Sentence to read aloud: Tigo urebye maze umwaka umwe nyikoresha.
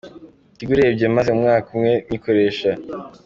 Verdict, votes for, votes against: accepted, 2, 1